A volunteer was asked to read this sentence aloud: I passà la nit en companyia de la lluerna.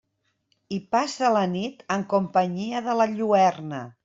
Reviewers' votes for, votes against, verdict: 1, 2, rejected